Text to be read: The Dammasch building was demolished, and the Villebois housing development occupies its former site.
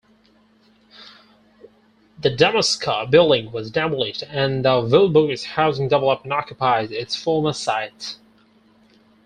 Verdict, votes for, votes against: rejected, 0, 4